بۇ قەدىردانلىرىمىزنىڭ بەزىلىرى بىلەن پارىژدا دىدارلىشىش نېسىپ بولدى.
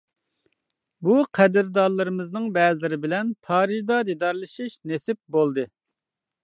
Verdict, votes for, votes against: accepted, 2, 0